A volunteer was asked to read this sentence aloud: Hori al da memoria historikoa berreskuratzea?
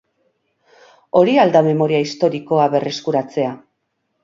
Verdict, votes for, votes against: accepted, 6, 0